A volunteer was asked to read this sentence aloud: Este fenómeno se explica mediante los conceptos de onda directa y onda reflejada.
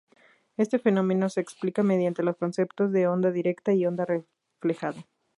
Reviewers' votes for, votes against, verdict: 2, 0, accepted